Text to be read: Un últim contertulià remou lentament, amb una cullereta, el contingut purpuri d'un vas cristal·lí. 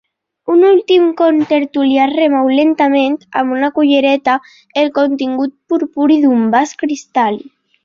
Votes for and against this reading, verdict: 2, 1, accepted